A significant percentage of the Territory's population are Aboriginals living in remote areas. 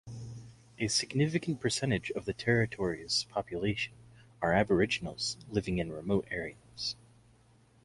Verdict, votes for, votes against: accepted, 2, 0